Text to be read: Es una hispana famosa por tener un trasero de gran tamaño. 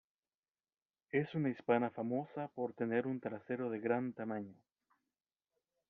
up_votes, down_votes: 2, 0